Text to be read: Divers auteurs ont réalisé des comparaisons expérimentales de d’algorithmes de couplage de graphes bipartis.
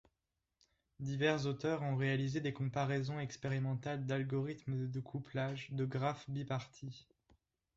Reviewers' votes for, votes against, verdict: 0, 2, rejected